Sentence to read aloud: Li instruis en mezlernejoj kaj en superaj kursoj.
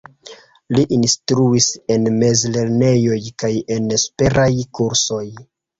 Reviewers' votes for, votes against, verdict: 1, 2, rejected